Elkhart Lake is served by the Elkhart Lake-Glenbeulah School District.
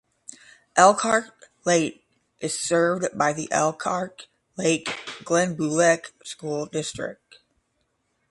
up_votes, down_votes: 0, 5